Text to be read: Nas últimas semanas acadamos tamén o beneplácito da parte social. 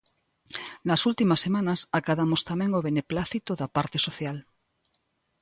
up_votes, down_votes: 2, 0